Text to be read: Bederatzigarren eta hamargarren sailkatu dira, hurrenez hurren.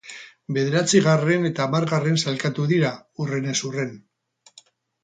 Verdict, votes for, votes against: accepted, 2, 0